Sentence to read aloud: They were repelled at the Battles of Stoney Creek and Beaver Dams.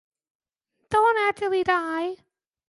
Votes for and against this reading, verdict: 0, 2, rejected